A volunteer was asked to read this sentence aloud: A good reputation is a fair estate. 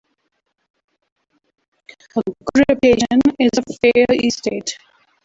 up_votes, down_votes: 1, 2